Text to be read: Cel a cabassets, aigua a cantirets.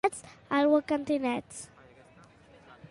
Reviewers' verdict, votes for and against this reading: rejected, 1, 2